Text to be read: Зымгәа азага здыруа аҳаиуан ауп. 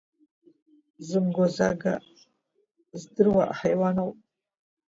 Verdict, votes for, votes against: rejected, 1, 2